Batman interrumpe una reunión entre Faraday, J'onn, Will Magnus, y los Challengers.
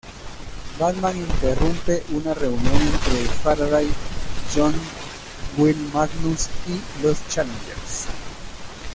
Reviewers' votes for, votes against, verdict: 0, 2, rejected